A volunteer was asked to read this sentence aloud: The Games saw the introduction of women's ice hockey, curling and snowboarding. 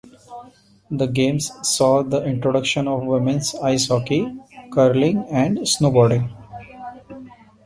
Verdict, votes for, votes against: accepted, 3, 0